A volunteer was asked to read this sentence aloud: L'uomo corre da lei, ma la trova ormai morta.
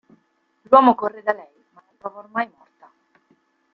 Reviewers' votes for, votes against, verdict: 0, 2, rejected